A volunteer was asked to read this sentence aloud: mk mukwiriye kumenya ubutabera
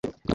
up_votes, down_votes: 1, 2